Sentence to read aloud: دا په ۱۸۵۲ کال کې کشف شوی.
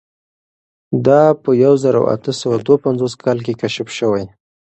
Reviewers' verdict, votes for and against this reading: rejected, 0, 2